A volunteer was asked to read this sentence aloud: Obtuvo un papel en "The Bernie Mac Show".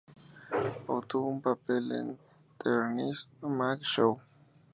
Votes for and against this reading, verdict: 0, 2, rejected